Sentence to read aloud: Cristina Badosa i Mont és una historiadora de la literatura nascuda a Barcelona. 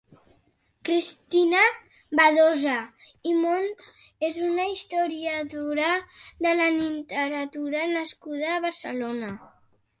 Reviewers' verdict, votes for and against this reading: accepted, 2, 1